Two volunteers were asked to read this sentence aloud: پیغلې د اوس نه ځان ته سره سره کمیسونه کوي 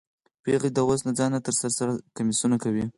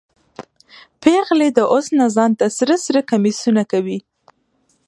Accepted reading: second